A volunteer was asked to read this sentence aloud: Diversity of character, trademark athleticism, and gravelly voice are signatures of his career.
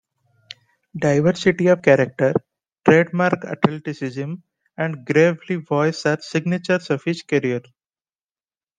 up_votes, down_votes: 2, 0